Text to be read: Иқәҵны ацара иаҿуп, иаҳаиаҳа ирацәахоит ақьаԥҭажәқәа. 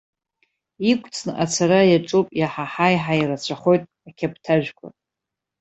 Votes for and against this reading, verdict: 0, 2, rejected